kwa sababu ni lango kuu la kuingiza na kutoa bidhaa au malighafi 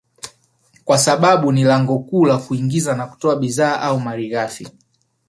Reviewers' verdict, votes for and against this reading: accepted, 2, 1